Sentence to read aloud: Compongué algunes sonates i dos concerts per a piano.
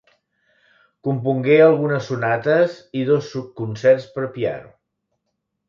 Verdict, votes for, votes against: rejected, 1, 3